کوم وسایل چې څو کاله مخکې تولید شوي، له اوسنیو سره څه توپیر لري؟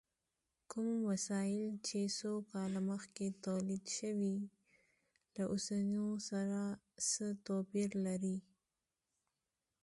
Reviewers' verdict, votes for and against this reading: accepted, 2, 0